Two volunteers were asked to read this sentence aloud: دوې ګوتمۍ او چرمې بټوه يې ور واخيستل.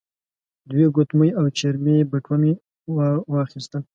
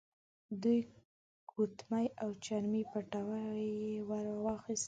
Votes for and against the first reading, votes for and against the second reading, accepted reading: 2, 0, 0, 2, first